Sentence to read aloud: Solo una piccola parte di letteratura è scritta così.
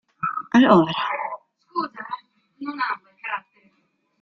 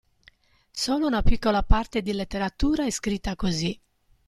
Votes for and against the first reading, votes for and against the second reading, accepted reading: 0, 2, 2, 0, second